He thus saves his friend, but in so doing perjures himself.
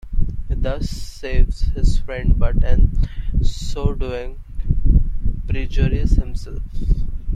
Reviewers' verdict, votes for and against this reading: rejected, 1, 2